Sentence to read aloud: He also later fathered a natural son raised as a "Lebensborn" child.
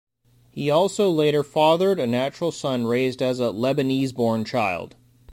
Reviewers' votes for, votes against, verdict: 1, 2, rejected